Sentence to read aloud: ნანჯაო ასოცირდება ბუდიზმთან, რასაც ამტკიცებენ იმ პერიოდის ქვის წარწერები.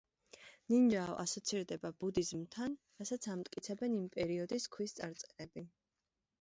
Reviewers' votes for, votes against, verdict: 1, 2, rejected